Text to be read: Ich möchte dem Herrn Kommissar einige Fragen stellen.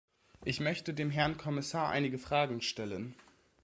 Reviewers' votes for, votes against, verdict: 2, 0, accepted